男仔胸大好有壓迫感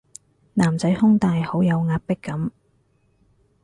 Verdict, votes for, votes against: accepted, 4, 0